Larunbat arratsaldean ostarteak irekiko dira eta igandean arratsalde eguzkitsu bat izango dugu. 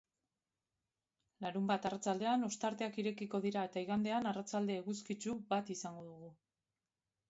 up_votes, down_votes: 2, 0